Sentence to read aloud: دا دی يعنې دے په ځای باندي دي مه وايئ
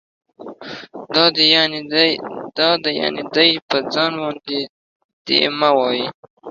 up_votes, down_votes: 1, 2